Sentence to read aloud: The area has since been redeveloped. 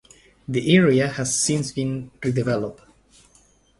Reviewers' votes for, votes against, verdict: 1, 2, rejected